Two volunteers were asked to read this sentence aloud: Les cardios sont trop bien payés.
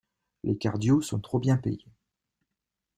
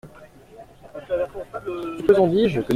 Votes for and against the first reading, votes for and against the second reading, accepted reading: 2, 0, 0, 2, first